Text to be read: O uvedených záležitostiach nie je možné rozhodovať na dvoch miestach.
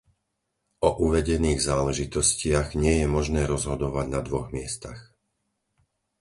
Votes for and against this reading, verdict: 4, 0, accepted